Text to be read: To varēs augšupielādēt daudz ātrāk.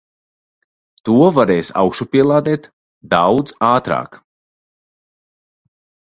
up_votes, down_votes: 2, 0